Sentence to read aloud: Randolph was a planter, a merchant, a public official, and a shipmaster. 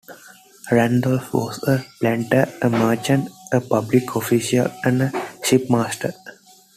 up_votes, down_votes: 2, 0